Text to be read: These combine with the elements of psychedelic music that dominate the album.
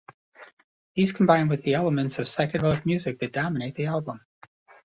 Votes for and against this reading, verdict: 1, 2, rejected